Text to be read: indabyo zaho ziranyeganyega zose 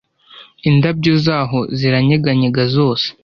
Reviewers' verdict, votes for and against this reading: accepted, 2, 0